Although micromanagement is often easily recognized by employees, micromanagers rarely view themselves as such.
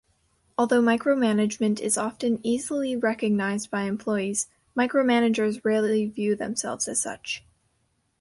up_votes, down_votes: 0, 2